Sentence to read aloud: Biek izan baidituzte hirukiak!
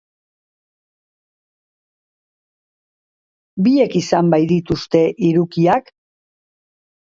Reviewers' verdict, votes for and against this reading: rejected, 1, 2